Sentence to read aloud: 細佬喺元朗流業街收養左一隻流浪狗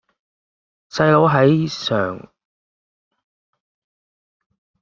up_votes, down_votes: 0, 2